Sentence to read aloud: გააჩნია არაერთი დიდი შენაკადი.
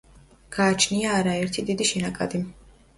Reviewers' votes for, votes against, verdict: 2, 0, accepted